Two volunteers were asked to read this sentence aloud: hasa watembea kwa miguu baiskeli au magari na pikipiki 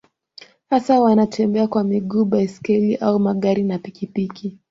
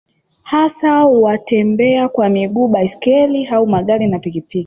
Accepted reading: first